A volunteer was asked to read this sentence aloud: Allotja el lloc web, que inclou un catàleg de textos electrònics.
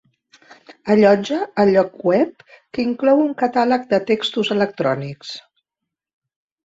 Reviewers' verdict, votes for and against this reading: accepted, 3, 0